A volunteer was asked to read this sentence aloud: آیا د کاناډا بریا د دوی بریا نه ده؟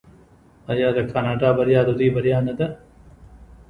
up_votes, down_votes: 2, 1